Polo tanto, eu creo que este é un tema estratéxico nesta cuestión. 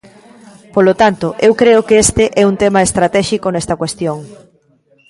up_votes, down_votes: 1, 2